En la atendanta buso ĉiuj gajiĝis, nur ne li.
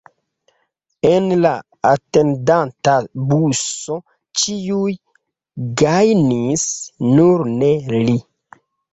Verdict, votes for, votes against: rejected, 1, 3